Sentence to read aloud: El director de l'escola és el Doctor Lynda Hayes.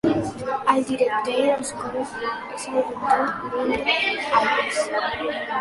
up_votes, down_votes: 0, 2